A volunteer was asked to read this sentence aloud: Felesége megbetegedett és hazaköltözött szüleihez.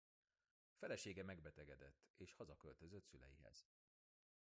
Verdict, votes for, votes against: rejected, 0, 2